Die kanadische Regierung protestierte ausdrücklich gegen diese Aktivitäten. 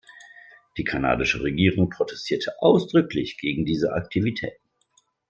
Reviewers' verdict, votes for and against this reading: accepted, 2, 1